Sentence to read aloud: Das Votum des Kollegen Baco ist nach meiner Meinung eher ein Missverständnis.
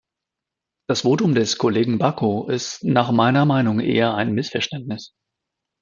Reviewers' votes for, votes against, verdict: 2, 0, accepted